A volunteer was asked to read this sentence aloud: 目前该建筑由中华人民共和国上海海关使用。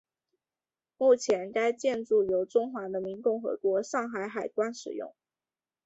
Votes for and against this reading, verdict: 0, 2, rejected